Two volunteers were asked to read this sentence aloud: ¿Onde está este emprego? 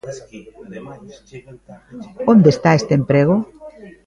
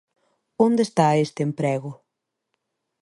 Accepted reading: second